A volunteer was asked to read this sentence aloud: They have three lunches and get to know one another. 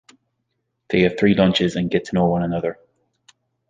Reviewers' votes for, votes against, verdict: 2, 0, accepted